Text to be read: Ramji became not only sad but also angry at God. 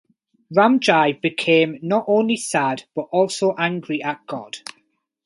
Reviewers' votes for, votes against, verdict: 4, 0, accepted